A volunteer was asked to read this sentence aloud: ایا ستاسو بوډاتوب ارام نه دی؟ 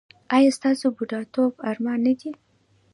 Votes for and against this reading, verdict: 0, 2, rejected